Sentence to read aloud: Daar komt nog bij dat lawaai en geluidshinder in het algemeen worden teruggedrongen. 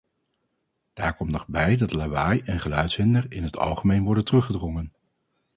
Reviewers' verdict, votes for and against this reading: accepted, 4, 0